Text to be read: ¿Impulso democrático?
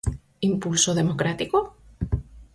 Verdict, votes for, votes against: accepted, 4, 0